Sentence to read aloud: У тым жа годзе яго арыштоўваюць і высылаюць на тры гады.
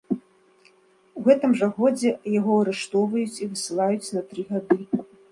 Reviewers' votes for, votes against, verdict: 0, 2, rejected